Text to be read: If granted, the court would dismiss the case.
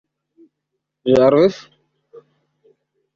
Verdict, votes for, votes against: rejected, 0, 2